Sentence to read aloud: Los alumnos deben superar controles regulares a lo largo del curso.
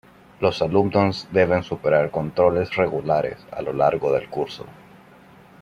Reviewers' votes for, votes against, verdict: 2, 0, accepted